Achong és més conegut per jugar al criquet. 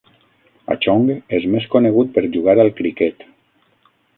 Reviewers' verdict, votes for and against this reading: rejected, 0, 6